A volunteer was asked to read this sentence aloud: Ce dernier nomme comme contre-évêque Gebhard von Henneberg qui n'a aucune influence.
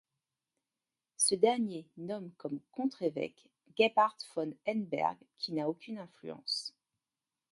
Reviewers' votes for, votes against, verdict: 2, 0, accepted